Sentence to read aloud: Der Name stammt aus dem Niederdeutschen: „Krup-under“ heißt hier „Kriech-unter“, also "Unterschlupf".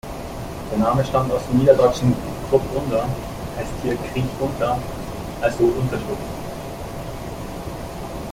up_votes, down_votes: 0, 3